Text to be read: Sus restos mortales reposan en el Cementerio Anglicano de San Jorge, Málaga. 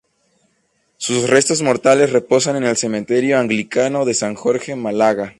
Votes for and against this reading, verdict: 0, 2, rejected